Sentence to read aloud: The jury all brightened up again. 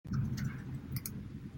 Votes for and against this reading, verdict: 0, 2, rejected